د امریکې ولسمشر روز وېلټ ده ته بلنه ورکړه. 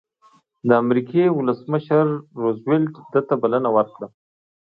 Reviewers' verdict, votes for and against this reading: accepted, 2, 0